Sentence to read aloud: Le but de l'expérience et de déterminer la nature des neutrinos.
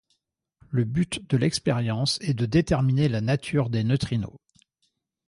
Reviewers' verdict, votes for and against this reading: accepted, 2, 1